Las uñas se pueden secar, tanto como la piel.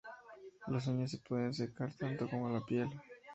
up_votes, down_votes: 2, 0